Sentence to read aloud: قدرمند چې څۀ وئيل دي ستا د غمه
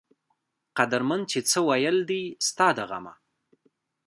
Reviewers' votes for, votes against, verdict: 0, 2, rejected